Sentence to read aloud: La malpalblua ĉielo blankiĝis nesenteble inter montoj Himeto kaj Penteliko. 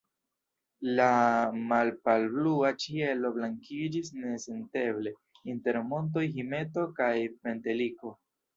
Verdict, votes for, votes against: rejected, 1, 2